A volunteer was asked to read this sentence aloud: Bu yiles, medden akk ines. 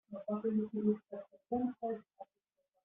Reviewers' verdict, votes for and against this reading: rejected, 0, 2